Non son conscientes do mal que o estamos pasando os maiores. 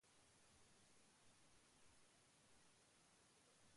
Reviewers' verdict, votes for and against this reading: rejected, 0, 2